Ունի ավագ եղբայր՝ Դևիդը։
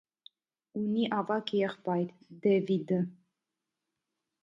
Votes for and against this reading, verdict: 2, 0, accepted